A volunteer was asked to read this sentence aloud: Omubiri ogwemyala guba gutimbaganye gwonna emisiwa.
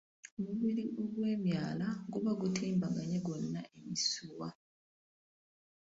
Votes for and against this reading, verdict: 1, 2, rejected